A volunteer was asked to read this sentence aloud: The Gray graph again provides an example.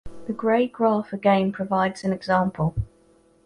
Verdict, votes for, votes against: accepted, 2, 0